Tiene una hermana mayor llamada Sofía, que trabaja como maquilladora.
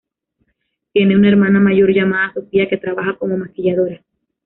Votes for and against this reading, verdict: 1, 2, rejected